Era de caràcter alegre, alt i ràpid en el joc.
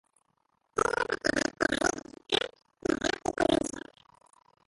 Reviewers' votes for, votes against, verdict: 0, 2, rejected